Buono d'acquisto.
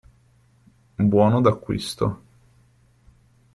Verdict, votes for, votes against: accepted, 2, 0